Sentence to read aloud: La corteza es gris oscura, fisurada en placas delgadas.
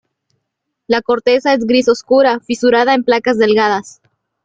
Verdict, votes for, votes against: accepted, 2, 0